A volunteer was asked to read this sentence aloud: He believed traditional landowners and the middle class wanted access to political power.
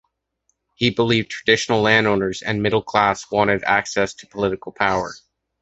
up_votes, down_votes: 2, 1